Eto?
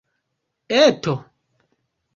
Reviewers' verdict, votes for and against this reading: accepted, 3, 1